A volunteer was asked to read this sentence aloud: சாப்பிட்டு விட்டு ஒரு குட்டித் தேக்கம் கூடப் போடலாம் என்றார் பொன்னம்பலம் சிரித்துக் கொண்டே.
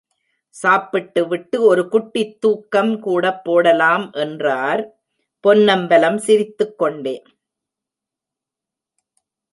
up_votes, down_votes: 0, 2